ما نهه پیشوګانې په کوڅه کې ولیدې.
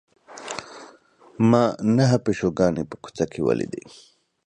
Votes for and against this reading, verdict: 2, 0, accepted